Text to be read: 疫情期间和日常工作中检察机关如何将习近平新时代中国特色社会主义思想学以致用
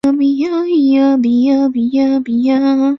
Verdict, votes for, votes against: rejected, 0, 2